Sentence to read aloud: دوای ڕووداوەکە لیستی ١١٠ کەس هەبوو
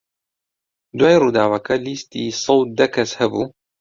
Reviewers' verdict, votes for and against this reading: rejected, 0, 2